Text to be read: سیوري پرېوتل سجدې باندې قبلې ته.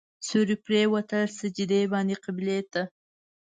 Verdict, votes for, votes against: accepted, 2, 0